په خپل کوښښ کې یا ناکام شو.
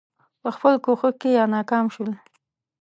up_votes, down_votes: 2, 0